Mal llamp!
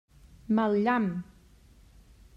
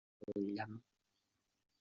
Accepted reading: first